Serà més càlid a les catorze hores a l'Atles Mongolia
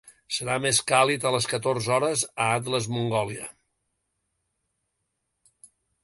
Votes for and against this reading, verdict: 3, 1, accepted